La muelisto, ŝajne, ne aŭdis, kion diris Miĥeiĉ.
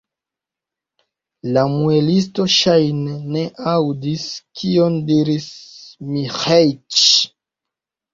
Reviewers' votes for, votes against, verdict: 2, 1, accepted